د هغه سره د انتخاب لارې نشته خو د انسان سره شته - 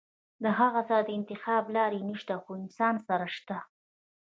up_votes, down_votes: 1, 2